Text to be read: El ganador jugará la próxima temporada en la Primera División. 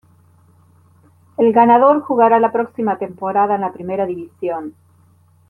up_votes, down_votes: 2, 1